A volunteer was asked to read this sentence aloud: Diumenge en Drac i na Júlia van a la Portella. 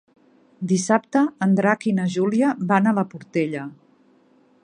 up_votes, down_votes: 0, 2